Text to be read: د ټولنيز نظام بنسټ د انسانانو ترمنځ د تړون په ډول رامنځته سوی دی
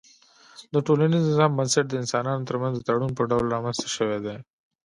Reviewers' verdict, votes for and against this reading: accepted, 2, 1